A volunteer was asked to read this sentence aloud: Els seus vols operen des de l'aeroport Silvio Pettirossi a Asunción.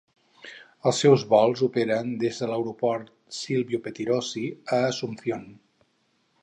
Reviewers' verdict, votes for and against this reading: accepted, 4, 0